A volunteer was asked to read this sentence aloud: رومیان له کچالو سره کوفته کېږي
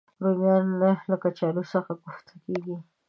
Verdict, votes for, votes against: accepted, 2, 1